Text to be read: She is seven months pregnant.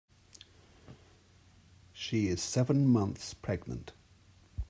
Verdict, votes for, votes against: rejected, 0, 2